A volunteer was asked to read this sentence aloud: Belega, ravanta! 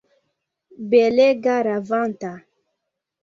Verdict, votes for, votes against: accepted, 2, 0